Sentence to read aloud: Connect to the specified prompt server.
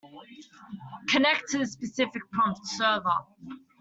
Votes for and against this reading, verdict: 1, 2, rejected